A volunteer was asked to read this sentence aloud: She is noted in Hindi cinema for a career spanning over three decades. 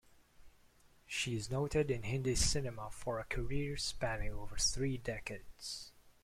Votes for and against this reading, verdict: 2, 0, accepted